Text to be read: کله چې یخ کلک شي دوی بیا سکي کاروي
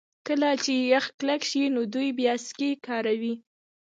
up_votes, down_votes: 2, 0